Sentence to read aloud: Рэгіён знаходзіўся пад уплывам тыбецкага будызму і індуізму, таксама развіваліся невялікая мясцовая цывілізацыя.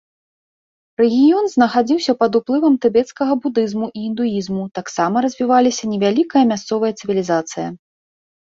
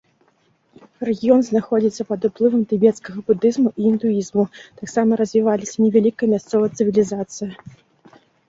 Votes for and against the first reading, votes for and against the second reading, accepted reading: 0, 2, 2, 0, second